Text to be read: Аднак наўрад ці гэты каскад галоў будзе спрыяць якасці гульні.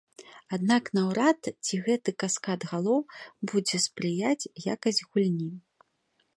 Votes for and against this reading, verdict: 0, 2, rejected